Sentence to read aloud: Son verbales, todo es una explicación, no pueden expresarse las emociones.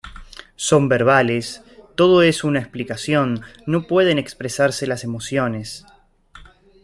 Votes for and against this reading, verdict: 2, 0, accepted